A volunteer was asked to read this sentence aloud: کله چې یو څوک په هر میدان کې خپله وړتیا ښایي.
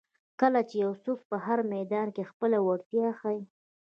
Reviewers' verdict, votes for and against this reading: rejected, 1, 2